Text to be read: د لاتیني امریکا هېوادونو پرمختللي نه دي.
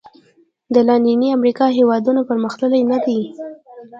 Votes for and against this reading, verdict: 0, 2, rejected